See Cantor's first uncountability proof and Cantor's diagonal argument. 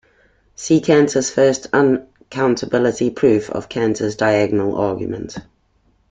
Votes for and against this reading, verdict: 2, 0, accepted